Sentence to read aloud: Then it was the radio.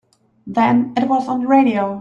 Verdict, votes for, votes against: rejected, 0, 3